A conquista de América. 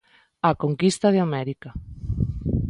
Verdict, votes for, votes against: accepted, 2, 0